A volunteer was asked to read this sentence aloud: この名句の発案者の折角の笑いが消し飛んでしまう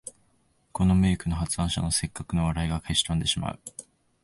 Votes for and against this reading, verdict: 2, 0, accepted